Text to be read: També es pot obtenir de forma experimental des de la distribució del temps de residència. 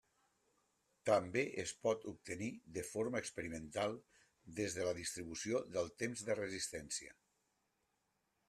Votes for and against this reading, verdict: 0, 2, rejected